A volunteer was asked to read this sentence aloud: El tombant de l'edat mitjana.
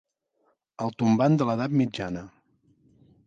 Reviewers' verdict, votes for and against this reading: accepted, 2, 0